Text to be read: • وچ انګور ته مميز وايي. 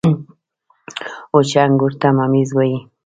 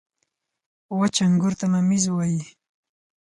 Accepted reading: second